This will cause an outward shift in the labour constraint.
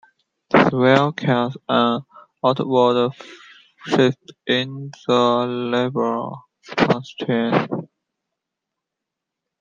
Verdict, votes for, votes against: rejected, 1, 2